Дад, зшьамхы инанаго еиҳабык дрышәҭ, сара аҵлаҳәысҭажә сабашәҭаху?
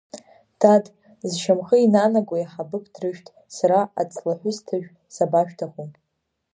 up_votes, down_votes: 2, 0